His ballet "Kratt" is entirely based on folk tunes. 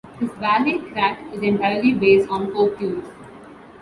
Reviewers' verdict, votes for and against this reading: accepted, 2, 1